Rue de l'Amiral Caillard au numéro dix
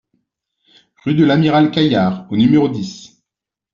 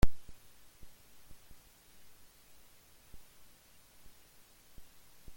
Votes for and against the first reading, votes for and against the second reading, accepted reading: 2, 1, 0, 2, first